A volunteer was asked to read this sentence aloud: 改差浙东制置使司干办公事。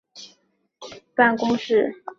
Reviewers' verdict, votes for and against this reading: rejected, 0, 2